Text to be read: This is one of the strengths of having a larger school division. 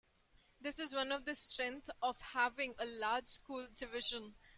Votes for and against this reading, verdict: 1, 2, rejected